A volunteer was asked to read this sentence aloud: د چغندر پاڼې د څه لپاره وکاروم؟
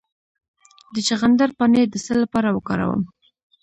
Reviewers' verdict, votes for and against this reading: accepted, 2, 0